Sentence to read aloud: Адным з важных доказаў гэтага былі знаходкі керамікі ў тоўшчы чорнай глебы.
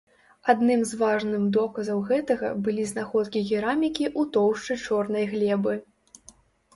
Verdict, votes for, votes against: rejected, 1, 2